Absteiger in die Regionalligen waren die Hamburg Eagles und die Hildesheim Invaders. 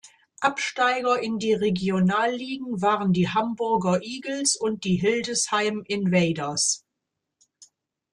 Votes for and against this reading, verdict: 0, 2, rejected